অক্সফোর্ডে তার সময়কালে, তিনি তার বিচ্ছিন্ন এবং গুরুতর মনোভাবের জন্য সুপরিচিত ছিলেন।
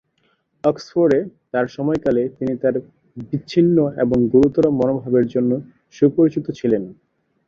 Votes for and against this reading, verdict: 9, 0, accepted